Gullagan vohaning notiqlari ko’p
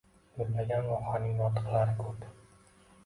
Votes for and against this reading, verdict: 2, 0, accepted